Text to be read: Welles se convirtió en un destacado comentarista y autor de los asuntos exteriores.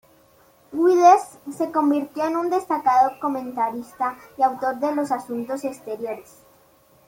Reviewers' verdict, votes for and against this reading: rejected, 1, 2